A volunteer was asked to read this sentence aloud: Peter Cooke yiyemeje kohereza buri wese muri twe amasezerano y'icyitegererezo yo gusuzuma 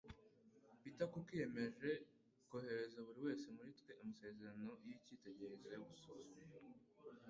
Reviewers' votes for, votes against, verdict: 3, 0, accepted